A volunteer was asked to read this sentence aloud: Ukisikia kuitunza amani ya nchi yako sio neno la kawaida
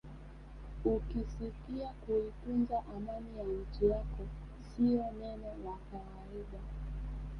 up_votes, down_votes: 2, 0